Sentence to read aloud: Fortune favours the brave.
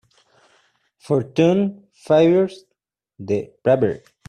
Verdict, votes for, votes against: rejected, 0, 2